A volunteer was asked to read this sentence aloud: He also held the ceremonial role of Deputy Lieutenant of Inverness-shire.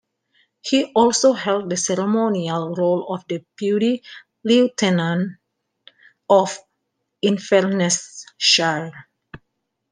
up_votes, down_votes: 2, 1